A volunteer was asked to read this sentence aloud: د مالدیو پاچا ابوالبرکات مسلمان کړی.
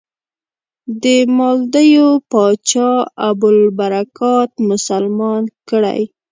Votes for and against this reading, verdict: 2, 0, accepted